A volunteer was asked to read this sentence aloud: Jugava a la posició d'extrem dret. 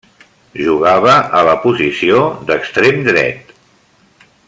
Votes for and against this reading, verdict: 3, 0, accepted